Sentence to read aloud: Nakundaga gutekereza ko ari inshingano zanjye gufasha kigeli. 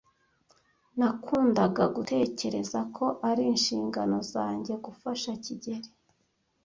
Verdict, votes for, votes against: accepted, 2, 0